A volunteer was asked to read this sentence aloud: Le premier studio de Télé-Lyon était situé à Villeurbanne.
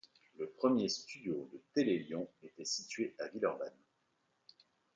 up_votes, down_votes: 2, 0